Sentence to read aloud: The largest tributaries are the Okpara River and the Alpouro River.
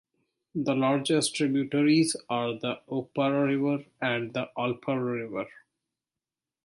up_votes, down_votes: 2, 0